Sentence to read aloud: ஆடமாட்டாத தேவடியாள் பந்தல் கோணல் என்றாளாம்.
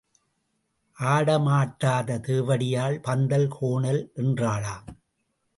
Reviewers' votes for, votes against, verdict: 2, 0, accepted